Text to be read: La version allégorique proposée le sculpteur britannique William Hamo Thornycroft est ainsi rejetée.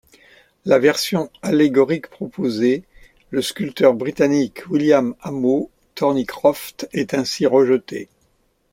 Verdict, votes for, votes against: rejected, 1, 2